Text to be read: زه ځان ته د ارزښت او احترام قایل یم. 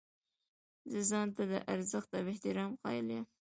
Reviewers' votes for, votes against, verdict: 2, 0, accepted